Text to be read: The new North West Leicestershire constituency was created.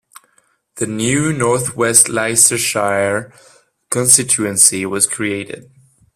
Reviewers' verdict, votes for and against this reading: accepted, 2, 1